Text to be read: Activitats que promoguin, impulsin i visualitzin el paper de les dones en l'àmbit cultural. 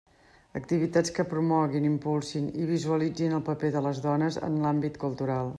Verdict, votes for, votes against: accepted, 3, 0